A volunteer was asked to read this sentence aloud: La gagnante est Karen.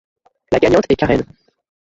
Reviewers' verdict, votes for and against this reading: accepted, 2, 1